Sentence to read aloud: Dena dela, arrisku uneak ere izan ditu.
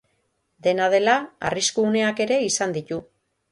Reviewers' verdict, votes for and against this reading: rejected, 3, 3